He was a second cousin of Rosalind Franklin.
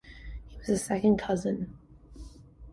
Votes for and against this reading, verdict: 0, 2, rejected